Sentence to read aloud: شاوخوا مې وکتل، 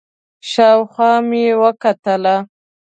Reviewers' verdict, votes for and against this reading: accepted, 2, 0